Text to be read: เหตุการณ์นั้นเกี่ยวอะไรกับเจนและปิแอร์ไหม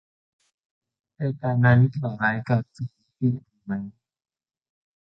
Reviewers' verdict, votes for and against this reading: rejected, 0, 2